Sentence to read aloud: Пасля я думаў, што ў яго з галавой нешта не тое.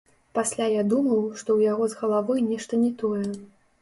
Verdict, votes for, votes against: rejected, 1, 3